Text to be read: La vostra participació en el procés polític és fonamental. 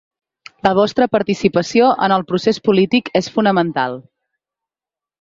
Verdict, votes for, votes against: accepted, 3, 0